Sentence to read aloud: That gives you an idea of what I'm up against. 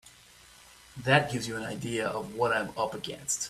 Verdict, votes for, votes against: accepted, 2, 0